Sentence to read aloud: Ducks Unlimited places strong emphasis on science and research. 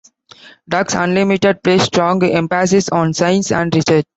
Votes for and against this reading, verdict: 1, 2, rejected